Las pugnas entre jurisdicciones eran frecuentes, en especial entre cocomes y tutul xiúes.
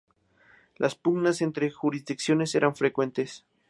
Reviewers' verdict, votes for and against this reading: rejected, 0, 2